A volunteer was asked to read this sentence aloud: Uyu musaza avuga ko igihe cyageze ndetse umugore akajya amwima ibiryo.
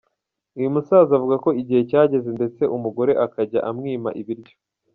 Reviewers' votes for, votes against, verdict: 0, 3, rejected